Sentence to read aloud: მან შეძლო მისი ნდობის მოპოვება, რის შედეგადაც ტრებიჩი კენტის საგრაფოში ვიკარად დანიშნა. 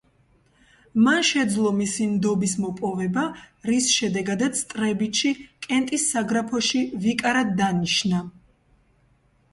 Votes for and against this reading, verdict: 2, 0, accepted